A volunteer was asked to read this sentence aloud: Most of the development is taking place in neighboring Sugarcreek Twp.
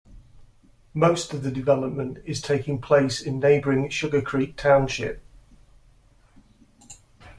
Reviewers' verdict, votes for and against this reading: accepted, 2, 1